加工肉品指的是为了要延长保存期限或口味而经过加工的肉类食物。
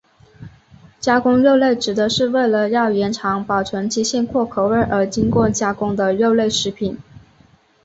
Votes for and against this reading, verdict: 0, 3, rejected